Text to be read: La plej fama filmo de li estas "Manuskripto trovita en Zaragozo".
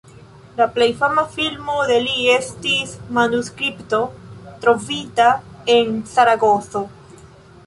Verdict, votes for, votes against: accepted, 2, 1